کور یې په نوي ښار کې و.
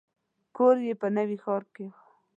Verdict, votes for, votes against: accepted, 2, 0